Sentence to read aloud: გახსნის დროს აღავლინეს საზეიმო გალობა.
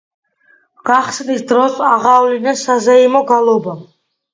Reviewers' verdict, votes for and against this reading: accepted, 2, 0